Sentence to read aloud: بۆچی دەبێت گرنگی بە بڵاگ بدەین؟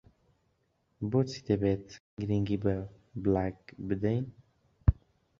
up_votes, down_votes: 0, 3